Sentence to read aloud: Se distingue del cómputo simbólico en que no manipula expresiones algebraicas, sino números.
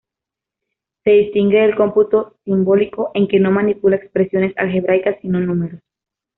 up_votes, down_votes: 2, 1